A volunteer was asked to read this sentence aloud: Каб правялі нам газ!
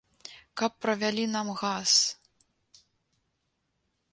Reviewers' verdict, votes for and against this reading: accepted, 2, 0